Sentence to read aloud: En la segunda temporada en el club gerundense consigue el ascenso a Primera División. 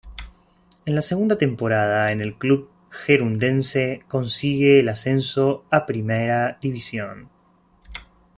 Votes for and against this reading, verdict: 2, 0, accepted